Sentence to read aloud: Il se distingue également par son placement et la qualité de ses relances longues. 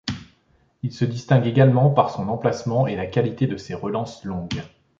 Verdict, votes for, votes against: rejected, 1, 2